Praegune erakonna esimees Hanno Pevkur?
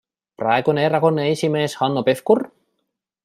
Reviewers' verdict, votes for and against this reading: accepted, 2, 1